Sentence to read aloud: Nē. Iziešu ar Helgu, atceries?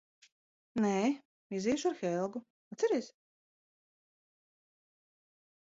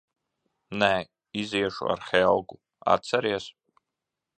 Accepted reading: second